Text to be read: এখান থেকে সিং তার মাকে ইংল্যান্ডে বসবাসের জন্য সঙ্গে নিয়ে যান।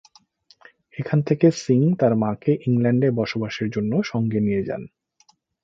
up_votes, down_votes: 2, 0